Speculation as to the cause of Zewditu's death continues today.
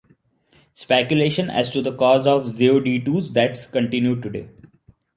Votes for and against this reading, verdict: 2, 1, accepted